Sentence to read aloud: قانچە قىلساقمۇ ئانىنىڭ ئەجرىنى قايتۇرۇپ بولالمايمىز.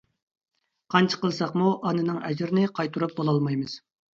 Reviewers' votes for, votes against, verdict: 2, 0, accepted